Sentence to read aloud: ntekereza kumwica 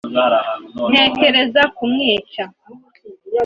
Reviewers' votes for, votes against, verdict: 2, 0, accepted